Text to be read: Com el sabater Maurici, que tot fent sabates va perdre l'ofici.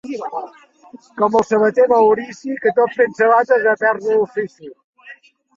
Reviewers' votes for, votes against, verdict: 2, 1, accepted